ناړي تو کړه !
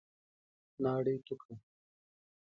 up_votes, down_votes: 2, 0